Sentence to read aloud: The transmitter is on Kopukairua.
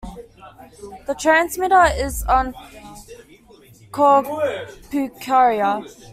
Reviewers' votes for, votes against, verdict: 1, 2, rejected